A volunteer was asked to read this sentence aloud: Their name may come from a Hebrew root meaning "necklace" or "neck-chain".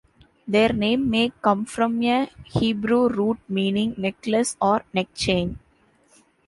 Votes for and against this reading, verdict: 2, 0, accepted